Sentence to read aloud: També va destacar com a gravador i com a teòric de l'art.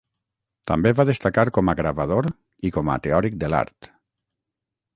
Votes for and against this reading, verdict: 3, 0, accepted